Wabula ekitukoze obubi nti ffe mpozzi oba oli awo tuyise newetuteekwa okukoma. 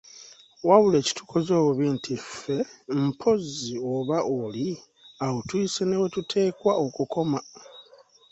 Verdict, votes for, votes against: accepted, 2, 0